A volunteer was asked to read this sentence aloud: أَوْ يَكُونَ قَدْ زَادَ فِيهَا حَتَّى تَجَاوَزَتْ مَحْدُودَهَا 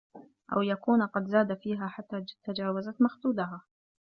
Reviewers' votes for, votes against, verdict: 0, 2, rejected